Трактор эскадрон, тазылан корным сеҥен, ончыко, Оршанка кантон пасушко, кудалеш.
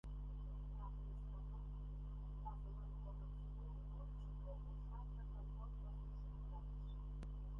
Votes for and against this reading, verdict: 0, 2, rejected